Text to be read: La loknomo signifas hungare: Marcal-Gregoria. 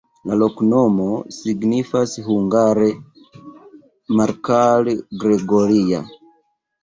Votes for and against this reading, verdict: 0, 2, rejected